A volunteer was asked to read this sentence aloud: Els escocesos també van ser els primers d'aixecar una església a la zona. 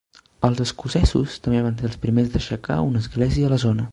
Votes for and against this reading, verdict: 1, 2, rejected